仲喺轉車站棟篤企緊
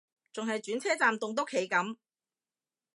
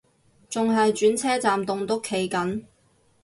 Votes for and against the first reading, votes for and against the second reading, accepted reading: 2, 0, 0, 2, first